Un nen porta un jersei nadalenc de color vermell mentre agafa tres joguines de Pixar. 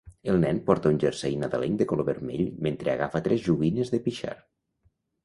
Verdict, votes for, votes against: rejected, 0, 2